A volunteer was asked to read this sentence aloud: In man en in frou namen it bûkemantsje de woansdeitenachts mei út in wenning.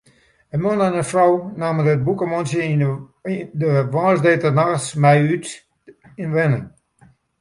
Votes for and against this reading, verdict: 0, 3, rejected